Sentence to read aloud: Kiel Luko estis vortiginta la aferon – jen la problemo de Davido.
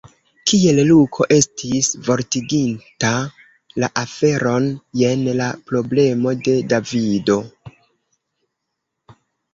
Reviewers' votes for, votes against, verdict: 2, 0, accepted